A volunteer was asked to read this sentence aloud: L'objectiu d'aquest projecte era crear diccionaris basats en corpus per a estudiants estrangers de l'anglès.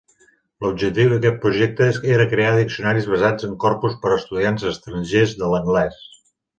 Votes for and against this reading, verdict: 1, 2, rejected